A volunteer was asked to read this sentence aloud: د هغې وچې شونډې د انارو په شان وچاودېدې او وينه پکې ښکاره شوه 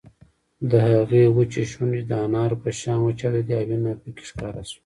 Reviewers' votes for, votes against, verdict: 1, 2, rejected